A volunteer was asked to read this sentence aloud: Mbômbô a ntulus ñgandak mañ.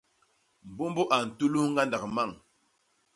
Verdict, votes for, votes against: accepted, 2, 0